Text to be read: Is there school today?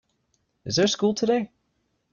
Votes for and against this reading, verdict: 2, 0, accepted